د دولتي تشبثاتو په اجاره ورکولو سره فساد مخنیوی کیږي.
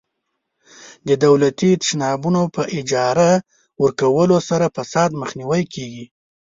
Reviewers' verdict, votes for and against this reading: rejected, 1, 2